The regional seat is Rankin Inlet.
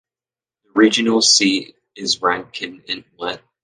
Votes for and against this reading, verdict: 1, 2, rejected